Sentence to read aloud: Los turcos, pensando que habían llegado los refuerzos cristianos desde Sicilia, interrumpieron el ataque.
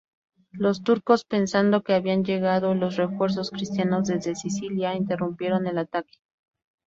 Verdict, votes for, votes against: accepted, 2, 0